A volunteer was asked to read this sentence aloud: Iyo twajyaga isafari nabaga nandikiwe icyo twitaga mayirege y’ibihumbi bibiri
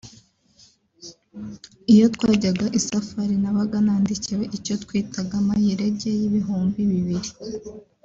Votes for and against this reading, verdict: 2, 3, rejected